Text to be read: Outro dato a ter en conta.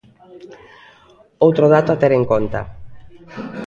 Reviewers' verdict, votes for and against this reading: accepted, 2, 0